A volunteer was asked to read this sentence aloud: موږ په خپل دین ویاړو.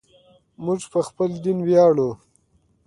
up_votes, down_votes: 1, 2